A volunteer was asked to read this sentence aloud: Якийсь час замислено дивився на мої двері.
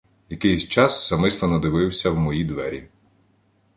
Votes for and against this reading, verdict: 0, 2, rejected